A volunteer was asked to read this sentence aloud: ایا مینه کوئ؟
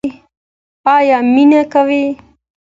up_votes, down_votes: 2, 0